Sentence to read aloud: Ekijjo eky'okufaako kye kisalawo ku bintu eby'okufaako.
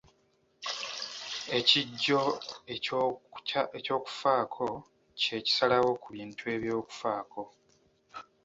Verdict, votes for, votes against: accepted, 2, 0